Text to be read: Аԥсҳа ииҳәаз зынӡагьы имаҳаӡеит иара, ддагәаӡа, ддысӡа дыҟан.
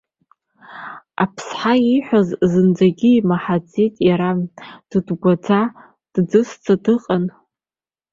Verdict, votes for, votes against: rejected, 0, 3